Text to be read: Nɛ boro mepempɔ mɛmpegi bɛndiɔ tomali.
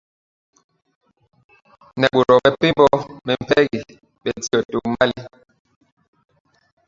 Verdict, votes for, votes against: rejected, 0, 2